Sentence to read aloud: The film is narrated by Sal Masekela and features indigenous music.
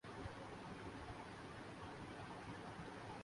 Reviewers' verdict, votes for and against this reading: rejected, 0, 4